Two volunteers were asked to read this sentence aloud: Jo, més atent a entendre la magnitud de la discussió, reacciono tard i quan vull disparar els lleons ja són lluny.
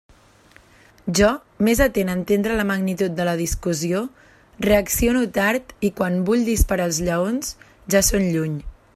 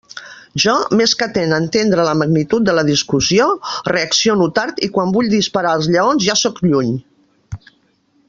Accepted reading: first